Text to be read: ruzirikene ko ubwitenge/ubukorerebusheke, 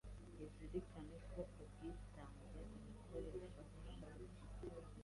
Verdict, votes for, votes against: rejected, 1, 2